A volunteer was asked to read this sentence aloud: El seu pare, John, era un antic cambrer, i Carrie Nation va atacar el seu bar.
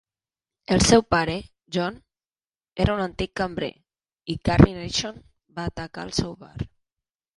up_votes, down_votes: 0, 2